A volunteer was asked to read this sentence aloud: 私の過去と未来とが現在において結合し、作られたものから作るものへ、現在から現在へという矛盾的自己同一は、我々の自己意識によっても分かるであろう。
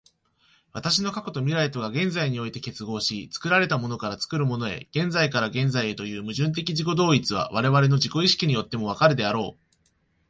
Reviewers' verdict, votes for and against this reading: accepted, 2, 0